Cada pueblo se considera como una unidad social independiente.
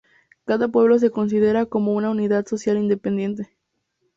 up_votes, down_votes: 0, 2